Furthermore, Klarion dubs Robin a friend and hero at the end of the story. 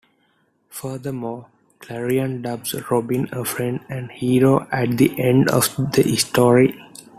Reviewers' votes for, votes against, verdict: 0, 2, rejected